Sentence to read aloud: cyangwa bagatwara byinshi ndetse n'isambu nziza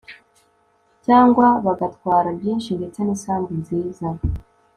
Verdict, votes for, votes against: accepted, 2, 0